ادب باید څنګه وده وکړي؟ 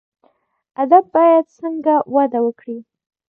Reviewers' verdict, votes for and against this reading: accepted, 2, 1